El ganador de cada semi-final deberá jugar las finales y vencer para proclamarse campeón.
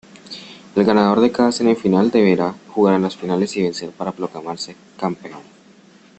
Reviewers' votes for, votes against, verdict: 1, 2, rejected